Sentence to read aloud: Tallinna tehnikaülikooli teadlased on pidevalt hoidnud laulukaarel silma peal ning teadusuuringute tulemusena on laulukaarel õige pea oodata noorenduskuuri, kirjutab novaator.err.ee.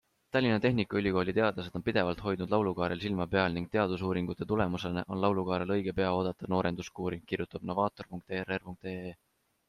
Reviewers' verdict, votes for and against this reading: accepted, 2, 0